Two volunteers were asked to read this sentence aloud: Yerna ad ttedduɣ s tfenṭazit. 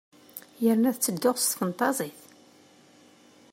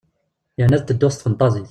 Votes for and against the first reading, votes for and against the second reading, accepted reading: 2, 0, 0, 2, first